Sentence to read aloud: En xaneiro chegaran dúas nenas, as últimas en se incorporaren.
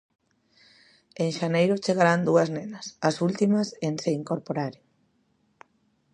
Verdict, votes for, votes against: accepted, 2, 1